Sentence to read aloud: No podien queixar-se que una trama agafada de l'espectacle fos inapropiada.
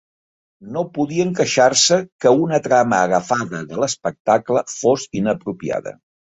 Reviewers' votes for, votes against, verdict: 2, 0, accepted